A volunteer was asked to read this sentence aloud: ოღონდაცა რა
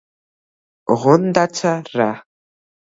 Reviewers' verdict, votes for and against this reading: accepted, 2, 0